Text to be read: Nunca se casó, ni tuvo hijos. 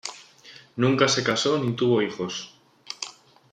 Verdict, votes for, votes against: accepted, 2, 0